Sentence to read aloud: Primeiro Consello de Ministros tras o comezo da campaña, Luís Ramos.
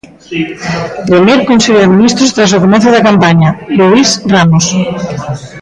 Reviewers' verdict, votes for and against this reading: rejected, 0, 2